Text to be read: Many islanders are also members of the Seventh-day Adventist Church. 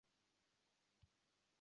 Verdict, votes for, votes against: rejected, 0, 2